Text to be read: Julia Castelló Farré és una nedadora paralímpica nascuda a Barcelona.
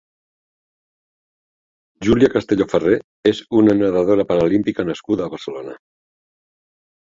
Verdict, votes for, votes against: accepted, 2, 1